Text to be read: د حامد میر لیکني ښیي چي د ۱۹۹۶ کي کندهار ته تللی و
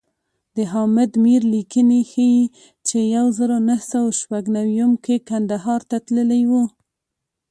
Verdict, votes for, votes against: rejected, 0, 2